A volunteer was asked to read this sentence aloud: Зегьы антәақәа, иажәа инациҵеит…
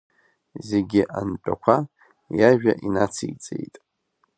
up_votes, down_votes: 2, 0